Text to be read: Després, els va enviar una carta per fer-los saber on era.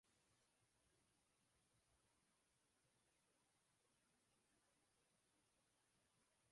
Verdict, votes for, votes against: rejected, 0, 2